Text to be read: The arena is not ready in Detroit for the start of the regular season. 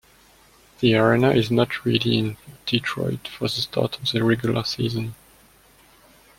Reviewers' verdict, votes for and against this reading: rejected, 1, 2